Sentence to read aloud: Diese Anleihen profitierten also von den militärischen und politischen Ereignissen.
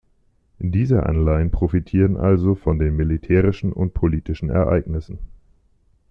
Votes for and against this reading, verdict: 1, 2, rejected